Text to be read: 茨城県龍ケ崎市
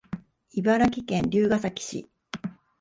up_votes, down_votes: 2, 0